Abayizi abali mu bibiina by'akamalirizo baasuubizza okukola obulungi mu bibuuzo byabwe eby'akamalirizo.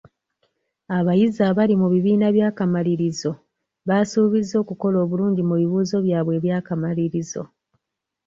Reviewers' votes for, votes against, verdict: 2, 1, accepted